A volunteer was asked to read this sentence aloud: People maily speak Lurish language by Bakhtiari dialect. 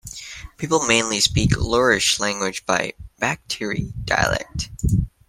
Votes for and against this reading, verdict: 0, 2, rejected